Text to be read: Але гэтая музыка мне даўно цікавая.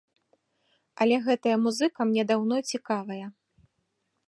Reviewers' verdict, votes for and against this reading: rejected, 0, 2